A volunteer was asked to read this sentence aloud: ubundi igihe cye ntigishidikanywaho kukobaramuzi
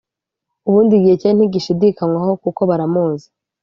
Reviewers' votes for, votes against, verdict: 2, 0, accepted